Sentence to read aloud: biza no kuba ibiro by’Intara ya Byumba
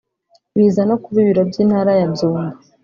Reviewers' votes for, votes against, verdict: 3, 0, accepted